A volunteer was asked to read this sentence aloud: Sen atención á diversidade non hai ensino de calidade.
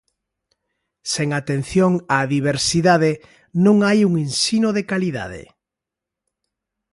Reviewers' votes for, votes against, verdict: 0, 2, rejected